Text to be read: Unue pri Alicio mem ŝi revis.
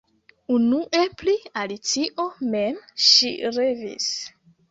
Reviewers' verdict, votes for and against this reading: rejected, 1, 2